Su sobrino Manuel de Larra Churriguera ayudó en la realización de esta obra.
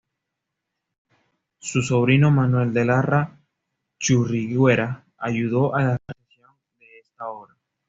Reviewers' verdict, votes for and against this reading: rejected, 0, 2